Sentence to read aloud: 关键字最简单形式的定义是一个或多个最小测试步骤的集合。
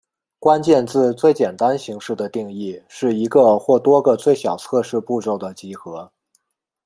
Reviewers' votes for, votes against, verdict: 2, 0, accepted